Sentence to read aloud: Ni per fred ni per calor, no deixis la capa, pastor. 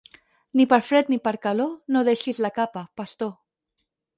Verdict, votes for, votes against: accepted, 4, 0